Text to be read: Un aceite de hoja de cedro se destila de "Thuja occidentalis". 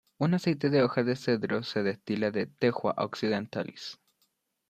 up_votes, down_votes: 1, 2